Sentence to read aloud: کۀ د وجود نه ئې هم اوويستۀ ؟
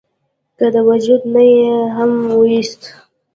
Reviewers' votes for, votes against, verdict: 2, 0, accepted